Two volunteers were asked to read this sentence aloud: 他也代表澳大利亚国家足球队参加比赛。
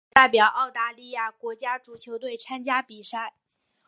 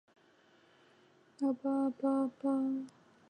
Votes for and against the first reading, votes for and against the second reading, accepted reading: 2, 1, 0, 5, first